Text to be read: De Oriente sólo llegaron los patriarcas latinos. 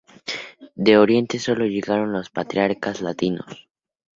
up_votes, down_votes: 2, 0